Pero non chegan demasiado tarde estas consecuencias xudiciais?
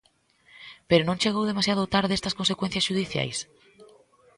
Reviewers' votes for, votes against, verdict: 1, 2, rejected